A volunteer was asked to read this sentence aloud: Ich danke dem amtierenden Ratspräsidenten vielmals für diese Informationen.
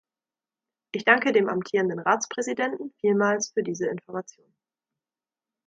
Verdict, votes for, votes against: rejected, 1, 2